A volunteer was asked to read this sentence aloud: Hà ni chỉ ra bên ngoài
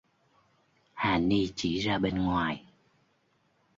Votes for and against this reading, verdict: 2, 0, accepted